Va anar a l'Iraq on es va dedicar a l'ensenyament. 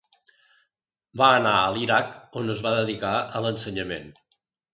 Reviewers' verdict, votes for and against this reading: accepted, 2, 0